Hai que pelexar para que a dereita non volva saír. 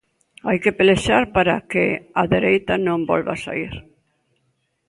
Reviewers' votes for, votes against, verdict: 2, 0, accepted